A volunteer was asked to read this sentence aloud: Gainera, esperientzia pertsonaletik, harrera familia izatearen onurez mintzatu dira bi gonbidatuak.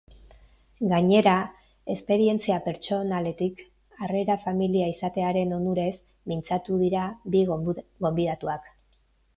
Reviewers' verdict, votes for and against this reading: rejected, 0, 2